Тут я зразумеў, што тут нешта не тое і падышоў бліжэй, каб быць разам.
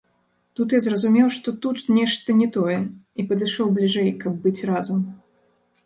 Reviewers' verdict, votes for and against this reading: rejected, 0, 2